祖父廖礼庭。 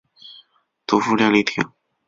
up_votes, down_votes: 0, 2